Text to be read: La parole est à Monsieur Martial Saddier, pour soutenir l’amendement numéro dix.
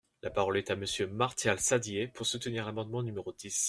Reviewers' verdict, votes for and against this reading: accepted, 2, 0